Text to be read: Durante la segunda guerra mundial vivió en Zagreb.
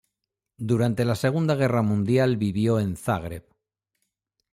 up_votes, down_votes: 2, 0